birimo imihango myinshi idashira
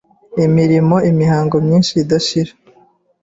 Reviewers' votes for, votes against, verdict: 1, 2, rejected